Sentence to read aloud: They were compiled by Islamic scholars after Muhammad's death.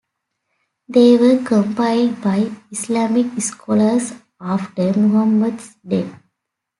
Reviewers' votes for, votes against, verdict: 1, 2, rejected